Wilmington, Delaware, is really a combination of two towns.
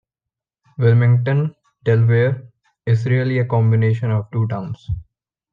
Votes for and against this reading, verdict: 2, 1, accepted